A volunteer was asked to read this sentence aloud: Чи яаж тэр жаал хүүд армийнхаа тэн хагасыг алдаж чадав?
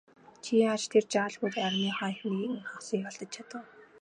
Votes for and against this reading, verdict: 1, 2, rejected